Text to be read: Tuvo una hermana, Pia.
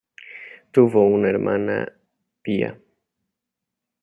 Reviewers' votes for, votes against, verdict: 2, 0, accepted